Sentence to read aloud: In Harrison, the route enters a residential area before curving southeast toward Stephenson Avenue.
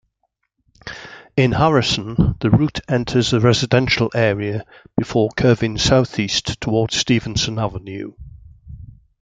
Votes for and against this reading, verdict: 2, 0, accepted